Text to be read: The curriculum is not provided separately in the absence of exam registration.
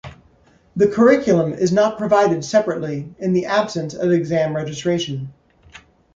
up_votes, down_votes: 2, 1